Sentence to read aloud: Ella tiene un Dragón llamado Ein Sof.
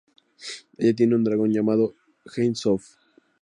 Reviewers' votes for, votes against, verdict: 2, 0, accepted